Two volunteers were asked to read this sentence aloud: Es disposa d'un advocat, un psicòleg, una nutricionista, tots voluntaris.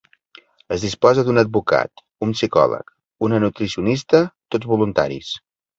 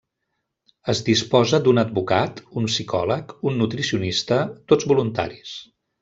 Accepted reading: first